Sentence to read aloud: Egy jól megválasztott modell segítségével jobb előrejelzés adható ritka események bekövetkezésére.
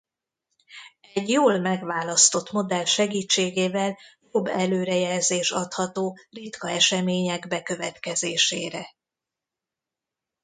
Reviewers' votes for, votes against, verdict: 2, 0, accepted